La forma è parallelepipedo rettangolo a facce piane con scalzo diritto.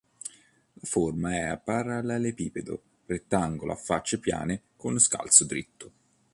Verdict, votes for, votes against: rejected, 1, 2